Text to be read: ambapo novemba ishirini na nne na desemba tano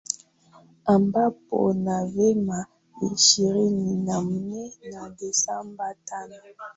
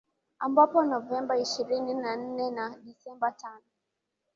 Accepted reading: second